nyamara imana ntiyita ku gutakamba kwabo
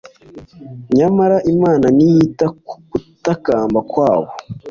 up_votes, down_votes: 2, 0